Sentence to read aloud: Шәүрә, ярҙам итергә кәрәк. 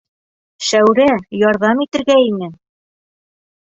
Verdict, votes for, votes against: rejected, 1, 2